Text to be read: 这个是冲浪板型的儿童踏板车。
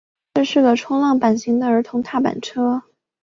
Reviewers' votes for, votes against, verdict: 6, 0, accepted